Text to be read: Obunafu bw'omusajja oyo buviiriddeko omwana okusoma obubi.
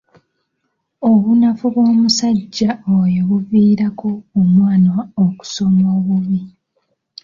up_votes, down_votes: 1, 2